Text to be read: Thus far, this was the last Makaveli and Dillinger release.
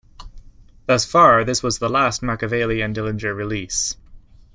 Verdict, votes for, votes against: accepted, 2, 0